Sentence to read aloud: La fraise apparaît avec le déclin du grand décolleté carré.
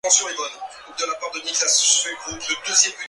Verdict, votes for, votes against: rejected, 0, 2